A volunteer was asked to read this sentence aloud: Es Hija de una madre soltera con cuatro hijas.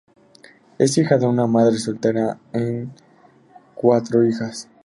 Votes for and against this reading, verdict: 0, 2, rejected